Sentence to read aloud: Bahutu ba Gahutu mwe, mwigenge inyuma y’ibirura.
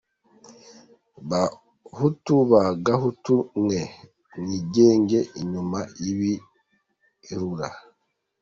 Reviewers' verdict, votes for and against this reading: rejected, 1, 2